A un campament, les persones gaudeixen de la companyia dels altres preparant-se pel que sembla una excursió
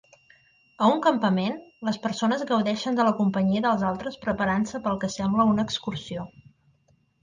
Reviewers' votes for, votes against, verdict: 2, 0, accepted